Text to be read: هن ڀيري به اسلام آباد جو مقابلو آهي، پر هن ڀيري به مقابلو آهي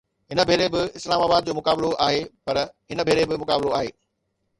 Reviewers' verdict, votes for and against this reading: accepted, 2, 0